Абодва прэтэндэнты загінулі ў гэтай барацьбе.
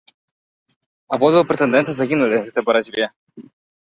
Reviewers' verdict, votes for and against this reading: rejected, 1, 2